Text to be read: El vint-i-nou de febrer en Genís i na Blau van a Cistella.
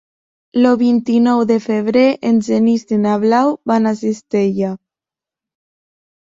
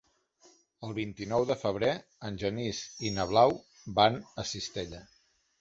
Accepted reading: second